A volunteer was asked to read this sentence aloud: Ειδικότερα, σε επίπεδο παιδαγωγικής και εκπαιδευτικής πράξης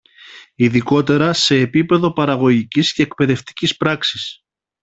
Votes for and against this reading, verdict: 1, 2, rejected